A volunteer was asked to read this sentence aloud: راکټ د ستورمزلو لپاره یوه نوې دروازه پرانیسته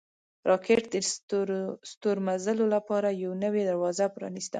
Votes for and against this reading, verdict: 2, 0, accepted